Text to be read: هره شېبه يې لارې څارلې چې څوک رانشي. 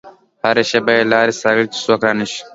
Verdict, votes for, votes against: rejected, 0, 2